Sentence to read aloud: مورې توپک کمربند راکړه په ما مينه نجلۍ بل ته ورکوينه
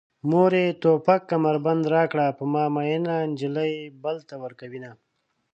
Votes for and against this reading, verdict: 2, 0, accepted